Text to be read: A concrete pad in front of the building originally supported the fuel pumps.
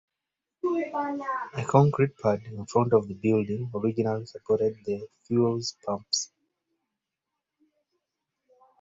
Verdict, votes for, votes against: rejected, 0, 3